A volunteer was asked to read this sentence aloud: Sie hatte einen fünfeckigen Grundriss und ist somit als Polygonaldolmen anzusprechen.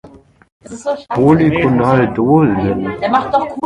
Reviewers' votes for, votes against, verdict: 0, 2, rejected